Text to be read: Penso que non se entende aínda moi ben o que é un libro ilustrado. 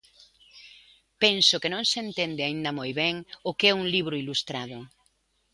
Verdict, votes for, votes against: accepted, 2, 0